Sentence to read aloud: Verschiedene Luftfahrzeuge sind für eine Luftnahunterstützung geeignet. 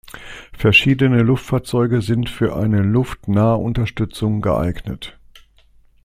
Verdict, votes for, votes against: accepted, 2, 0